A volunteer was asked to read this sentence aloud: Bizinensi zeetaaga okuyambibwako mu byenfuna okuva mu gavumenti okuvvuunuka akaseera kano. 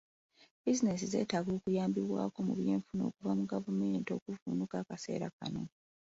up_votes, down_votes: 2, 0